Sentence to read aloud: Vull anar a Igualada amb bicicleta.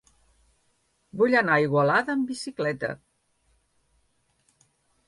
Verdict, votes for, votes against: accepted, 4, 0